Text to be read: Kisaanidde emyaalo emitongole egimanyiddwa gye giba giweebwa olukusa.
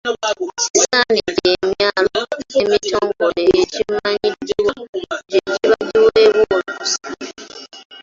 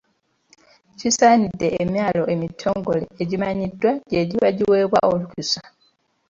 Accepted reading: second